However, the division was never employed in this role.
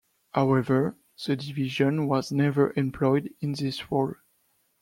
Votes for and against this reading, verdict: 2, 0, accepted